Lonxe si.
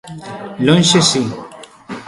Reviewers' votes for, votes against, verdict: 1, 2, rejected